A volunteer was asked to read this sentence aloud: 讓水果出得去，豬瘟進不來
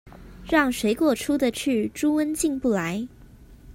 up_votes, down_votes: 2, 0